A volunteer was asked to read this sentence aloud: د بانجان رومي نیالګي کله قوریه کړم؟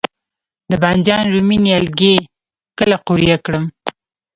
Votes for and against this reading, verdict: 2, 0, accepted